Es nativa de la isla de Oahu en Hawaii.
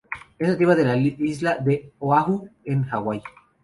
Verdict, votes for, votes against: rejected, 0, 2